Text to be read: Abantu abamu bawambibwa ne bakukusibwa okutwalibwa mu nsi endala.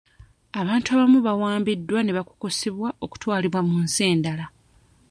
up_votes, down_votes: 1, 2